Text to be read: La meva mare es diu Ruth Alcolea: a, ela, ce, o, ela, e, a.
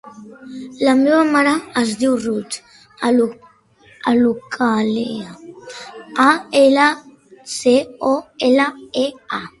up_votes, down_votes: 0, 2